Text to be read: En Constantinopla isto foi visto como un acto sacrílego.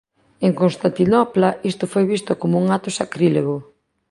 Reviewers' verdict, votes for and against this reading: accepted, 2, 1